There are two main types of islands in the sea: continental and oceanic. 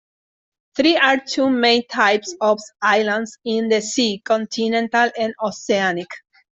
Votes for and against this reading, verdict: 1, 2, rejected